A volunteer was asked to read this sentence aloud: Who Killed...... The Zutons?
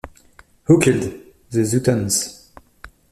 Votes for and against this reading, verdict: 1, 2, rejected